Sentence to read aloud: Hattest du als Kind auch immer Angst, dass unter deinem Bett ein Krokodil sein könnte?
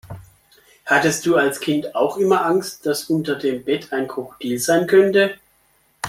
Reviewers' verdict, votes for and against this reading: rejected, 1, 2